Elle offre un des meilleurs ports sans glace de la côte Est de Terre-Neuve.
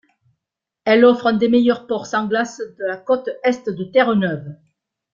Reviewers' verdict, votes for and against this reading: accepted, 2, 1